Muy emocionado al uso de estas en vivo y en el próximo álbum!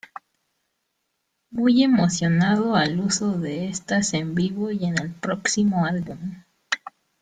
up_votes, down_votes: 1, 2